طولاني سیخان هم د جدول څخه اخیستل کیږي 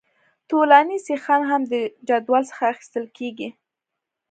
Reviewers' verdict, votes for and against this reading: accepted, 2, 0